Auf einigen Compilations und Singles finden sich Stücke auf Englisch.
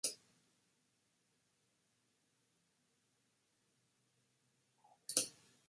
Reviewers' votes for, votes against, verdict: 0, 2, rejected